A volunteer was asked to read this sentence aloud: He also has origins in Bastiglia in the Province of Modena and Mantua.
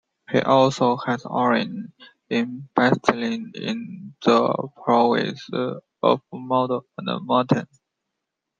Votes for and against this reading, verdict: 1, 2, rejected